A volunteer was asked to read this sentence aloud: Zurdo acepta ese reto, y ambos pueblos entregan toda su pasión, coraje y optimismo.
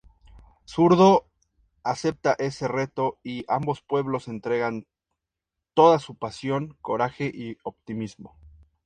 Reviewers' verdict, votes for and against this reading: accepted, 2, 0